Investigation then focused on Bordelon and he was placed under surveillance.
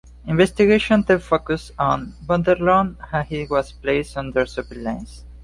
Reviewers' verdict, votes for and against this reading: rejected, 1, 2